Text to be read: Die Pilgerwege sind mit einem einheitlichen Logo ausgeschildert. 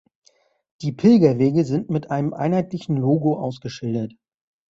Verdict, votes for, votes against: accepted, 3, 1